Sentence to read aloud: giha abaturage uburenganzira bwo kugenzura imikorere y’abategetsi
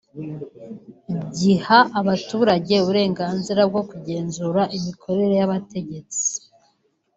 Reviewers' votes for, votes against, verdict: 2, 0, accepted